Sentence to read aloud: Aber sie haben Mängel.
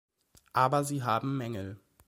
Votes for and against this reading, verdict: 2, 0, accepted